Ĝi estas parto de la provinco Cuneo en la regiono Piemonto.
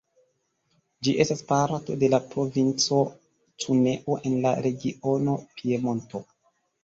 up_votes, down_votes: 1, 2